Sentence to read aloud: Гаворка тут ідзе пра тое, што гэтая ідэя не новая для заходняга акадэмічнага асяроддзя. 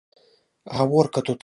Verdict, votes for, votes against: rejected, 0, 2